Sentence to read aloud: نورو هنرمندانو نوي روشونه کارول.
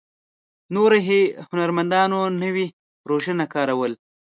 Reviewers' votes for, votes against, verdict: 0, 2, rejected